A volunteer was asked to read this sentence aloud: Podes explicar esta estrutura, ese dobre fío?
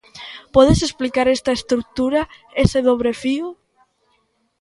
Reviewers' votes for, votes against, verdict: 2, 1, accepted